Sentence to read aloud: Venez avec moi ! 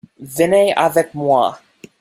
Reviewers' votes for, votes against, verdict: 2, 0, accepted